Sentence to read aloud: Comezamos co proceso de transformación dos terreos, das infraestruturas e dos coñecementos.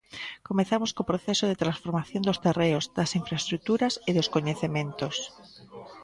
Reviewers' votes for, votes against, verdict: 1, 2, rejected